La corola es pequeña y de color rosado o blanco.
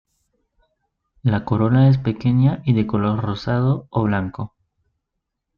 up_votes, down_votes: 2, 0